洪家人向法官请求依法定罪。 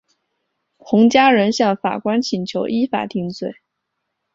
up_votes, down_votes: 2, 0